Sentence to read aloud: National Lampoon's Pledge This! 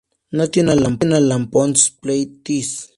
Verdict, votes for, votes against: rejected, 0, 2